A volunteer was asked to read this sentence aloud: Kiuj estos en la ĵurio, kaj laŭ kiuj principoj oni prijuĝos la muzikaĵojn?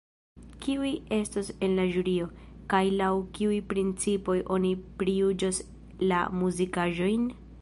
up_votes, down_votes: 2, 0